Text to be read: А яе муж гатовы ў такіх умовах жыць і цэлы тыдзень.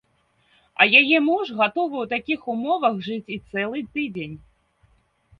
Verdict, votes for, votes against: accepted, 2, 0